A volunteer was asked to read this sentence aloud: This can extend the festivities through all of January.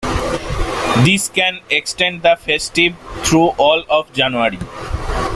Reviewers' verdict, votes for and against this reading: rejected, 0, 2